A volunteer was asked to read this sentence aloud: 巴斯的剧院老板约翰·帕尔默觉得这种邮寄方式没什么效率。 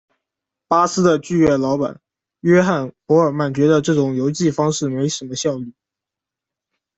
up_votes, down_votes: 0, 2